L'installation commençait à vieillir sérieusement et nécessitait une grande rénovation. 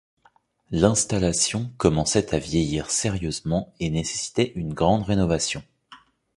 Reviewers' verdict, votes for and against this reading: accepted, 2, 0